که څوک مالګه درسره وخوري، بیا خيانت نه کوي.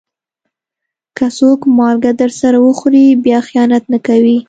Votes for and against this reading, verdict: 2, 0, accepted